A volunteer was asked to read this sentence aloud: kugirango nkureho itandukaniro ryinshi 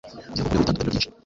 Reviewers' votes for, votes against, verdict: 1, 2, rejected